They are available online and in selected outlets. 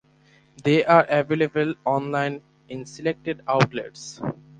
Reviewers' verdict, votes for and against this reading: accepted, 4, 0